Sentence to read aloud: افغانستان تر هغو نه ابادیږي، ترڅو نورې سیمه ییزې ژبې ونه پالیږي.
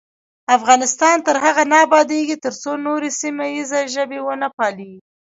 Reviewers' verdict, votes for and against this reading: rejected, 0, 2